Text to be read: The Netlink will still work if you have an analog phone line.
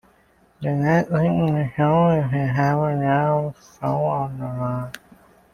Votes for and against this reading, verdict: 1, 2, rejected